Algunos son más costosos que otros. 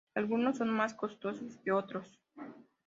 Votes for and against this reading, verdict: 2, 0, accepted